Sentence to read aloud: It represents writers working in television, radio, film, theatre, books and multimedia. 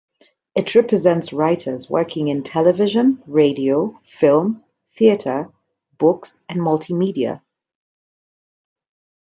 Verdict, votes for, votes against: accepted, 2, 0